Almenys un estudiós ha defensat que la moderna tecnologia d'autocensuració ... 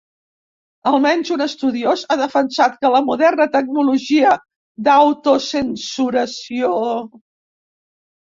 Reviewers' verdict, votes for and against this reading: rejected, 1, 2